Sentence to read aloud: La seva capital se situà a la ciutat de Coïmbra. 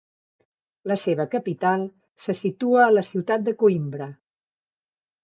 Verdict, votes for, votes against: rejected, 1, 2